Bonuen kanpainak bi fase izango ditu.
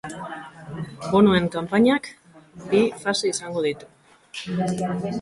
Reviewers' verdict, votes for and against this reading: accepted, 2, 0